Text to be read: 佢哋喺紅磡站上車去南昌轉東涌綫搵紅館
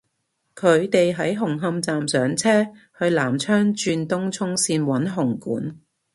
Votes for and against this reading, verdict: 2, 0, accepted